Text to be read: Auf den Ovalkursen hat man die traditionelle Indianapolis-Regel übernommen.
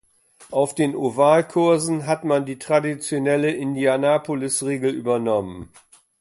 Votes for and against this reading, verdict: 2, 0, accepted